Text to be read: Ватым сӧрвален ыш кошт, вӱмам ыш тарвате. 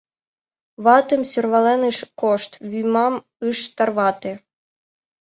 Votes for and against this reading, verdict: 2, 1, accepted